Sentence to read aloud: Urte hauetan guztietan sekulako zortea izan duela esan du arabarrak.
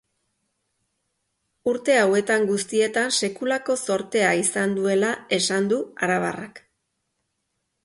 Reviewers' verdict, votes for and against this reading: accepted, 2, 0